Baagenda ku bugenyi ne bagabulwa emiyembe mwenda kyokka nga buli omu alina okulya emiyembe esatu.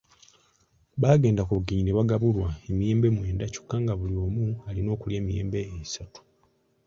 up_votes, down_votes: 2, 0